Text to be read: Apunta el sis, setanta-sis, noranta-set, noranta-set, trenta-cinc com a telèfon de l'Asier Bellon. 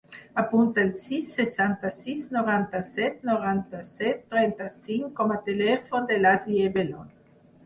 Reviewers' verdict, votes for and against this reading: rejected, 2, 4